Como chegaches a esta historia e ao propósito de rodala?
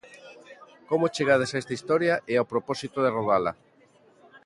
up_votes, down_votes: 0, 2